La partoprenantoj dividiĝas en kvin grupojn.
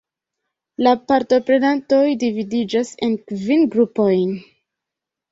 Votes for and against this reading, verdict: 2, 0, accepted